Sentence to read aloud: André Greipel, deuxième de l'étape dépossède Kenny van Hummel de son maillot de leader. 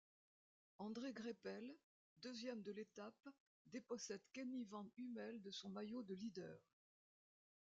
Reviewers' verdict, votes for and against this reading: accepted, 2, 0